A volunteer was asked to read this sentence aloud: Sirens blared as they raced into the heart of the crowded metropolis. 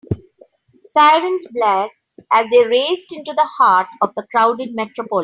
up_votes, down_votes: 2, 3